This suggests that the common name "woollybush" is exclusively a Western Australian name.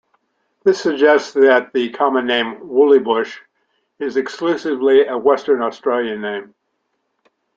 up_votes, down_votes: 2, 0